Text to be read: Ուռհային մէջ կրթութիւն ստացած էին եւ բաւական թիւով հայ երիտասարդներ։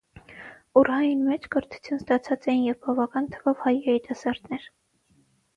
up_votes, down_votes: 3, 6